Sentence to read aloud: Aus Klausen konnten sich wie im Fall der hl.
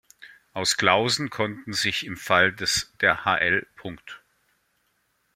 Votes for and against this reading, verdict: 0, 2, rejected